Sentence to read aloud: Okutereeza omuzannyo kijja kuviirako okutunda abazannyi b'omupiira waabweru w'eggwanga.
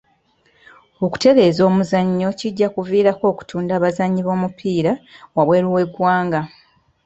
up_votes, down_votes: 2, 1